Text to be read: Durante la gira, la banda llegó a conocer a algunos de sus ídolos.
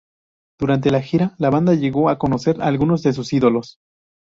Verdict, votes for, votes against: rejected, 2, 2